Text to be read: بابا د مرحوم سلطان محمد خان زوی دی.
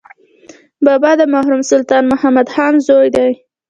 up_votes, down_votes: 2, 0